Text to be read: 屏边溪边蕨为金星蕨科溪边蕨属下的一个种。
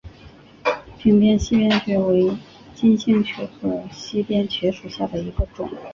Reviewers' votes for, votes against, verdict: 2, 1, accepted